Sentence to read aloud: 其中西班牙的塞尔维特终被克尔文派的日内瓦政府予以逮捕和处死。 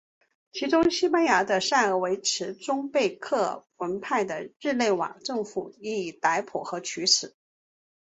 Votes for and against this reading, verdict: 2, 0, accepted